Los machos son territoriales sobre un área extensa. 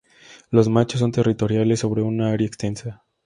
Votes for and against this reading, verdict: 4, 0, accepted